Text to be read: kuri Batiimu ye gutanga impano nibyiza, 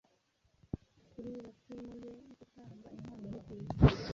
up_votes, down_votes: 0, 2